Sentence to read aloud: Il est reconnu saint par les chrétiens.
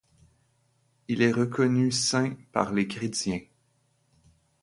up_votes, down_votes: 2, 0